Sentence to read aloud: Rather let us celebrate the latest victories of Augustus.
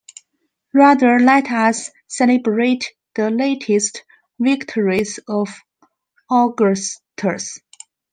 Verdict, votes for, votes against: accepted, 2, 0